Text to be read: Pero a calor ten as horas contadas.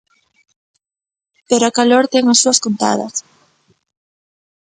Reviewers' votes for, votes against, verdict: 0, 2, rejected